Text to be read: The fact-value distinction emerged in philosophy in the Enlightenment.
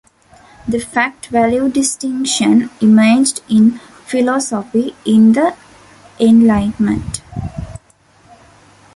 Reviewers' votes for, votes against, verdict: 3, 0, accepted